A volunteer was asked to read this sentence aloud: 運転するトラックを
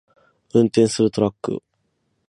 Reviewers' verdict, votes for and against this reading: accepted, 6, 0